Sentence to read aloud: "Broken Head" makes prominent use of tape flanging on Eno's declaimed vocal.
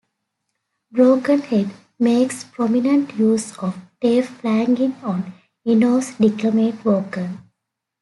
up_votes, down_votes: 0, 2